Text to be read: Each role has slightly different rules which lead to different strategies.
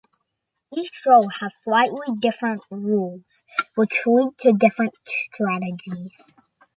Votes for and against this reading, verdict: 0, 2, rejected